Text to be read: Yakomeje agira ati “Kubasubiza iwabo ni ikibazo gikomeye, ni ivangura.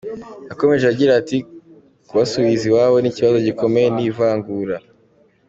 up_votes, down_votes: 2, 1